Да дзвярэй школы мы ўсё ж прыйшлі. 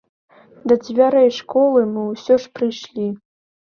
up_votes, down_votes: 2, 0